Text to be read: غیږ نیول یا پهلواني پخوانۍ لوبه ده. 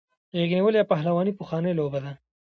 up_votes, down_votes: 2, 0